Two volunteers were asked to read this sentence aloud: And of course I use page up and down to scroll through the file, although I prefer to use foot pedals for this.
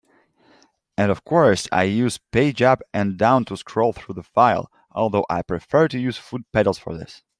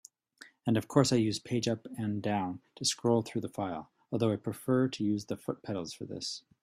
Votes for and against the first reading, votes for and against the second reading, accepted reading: 2, 0, 0, 2, first